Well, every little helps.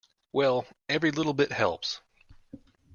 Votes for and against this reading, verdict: 1, 2, rejected